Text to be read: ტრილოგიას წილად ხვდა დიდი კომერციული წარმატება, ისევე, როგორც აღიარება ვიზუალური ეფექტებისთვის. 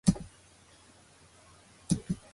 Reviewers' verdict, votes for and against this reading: rejected, 1, 2